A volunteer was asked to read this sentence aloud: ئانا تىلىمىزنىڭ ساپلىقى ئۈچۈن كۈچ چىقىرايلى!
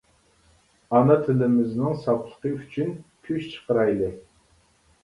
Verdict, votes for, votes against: accepted, 2, 0